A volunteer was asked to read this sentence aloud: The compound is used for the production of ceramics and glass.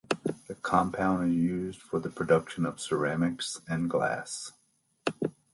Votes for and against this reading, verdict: 0, 2, rejected